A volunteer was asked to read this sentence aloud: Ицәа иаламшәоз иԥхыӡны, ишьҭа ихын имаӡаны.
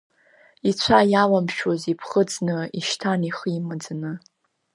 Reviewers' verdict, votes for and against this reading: rejected, 1, 2